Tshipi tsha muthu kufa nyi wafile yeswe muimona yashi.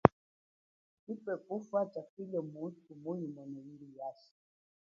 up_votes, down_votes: 0, 2